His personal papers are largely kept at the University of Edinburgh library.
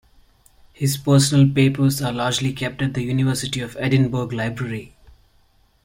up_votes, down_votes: 2, 0